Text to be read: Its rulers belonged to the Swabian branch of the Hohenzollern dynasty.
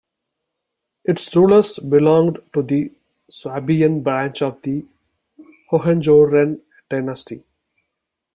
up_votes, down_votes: 0, 2